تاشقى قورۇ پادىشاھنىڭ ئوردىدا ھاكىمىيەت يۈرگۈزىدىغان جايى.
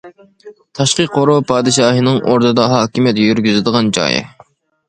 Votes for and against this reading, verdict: 1, 2, rejected